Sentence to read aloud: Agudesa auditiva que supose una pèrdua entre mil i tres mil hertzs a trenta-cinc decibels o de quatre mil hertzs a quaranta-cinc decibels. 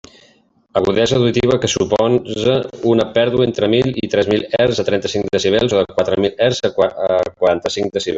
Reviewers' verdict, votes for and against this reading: rejected, 0, 2